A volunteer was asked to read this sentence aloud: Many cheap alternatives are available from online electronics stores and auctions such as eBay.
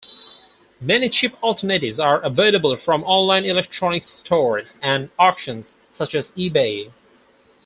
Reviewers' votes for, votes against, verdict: 4, 2, accepted